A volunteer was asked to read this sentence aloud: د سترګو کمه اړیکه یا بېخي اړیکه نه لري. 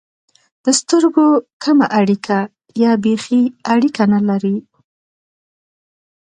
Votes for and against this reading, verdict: 2, 0, accepted